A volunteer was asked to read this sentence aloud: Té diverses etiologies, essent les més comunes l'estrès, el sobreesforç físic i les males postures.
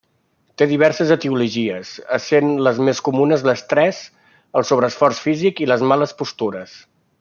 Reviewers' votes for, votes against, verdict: 2, 0, accepted